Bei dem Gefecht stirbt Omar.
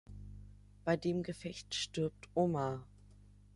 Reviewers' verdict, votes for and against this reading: accepted, 3, 0